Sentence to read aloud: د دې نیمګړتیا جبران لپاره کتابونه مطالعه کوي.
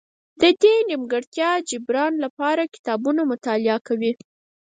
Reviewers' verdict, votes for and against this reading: rejected, 0, 4